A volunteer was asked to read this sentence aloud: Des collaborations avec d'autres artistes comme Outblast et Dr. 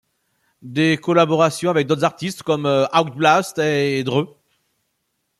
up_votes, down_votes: 1, 2